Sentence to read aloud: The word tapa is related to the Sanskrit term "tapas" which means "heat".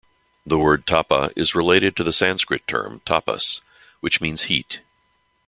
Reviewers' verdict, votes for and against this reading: accepted, 2, 0